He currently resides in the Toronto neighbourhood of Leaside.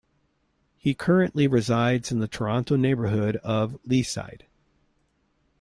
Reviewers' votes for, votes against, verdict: 3, 0, accepted